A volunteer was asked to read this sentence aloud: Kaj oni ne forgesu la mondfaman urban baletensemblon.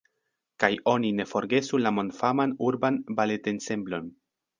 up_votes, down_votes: 0, 2